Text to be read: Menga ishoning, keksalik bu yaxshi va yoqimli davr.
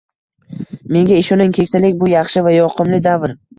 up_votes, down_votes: 2, 0